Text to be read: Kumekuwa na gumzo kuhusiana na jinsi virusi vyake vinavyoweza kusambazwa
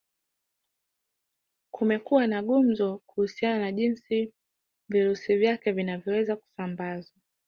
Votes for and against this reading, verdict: 2, 0, accepted